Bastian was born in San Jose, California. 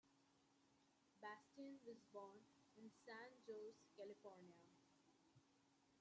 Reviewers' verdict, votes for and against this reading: rejected, 1, 2